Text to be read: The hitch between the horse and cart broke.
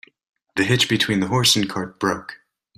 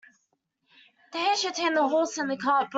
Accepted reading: first